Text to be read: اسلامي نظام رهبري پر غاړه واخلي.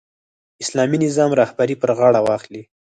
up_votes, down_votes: 6, 0